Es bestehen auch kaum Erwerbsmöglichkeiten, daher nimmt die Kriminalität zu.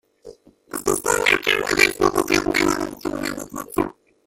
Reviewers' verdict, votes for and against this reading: rejected, 0, 2